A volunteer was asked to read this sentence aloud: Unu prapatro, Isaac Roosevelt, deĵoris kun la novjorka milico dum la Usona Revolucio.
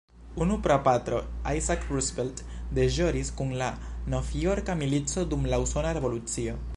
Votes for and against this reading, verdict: 1, 2, rejected